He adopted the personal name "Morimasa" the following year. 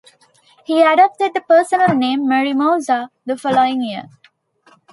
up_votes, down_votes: 2, 0